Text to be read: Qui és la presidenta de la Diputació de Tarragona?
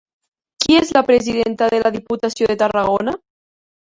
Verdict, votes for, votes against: rejected, 1, 2